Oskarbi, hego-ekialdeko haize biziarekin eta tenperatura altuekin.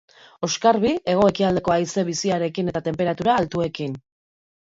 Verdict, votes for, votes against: accepted, 2, 0